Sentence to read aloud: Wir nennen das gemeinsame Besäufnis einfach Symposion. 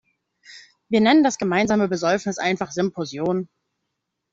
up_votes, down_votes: 2, 1